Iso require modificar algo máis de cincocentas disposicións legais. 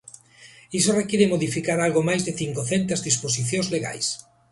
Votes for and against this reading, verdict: 3, 0, accepted